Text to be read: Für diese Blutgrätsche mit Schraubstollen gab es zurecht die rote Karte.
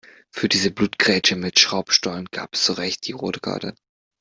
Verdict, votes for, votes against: accepted, 2, 0